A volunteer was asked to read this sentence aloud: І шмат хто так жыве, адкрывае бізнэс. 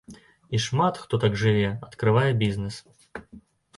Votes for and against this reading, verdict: 2, 0, accepted